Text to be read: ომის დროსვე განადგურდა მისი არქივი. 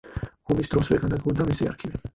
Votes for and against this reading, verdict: 0, 4, rejected